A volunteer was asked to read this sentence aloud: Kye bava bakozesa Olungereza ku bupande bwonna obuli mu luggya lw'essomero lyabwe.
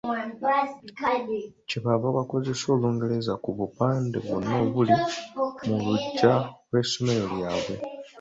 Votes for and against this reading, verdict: 2, 0, accepted